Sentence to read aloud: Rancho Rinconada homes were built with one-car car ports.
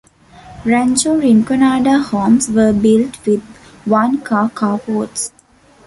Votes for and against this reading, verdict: 1, 2, rejected